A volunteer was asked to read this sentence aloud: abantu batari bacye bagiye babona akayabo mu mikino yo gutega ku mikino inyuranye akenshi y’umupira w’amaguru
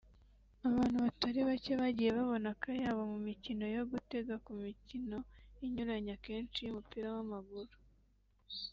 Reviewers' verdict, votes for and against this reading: accepted, 2, 0